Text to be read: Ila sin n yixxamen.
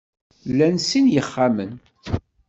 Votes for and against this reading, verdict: 2, 0, accepted